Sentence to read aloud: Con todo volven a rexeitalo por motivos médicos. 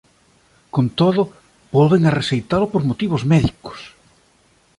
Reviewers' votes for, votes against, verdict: 2, 0, accepted